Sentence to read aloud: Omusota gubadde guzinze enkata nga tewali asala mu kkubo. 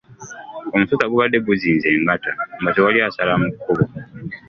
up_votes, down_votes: 0, 2